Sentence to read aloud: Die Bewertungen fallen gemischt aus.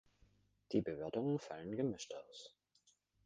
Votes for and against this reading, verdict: 1, 2, rejected